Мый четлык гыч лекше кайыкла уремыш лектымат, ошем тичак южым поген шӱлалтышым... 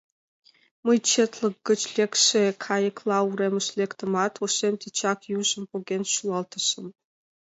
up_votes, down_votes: 2, 0